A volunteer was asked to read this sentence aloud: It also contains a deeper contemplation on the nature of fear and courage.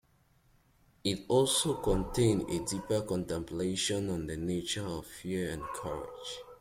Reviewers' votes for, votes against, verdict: 2, 0, accepted